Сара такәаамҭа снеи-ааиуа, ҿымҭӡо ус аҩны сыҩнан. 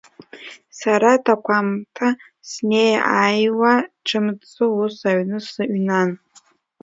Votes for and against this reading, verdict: 0, 2, rejected